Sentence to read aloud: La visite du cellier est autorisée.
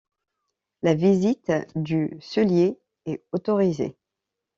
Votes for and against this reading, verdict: 1, 2, rejected